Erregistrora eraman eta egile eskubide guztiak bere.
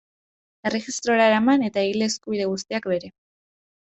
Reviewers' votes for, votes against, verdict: 1, 2, rejected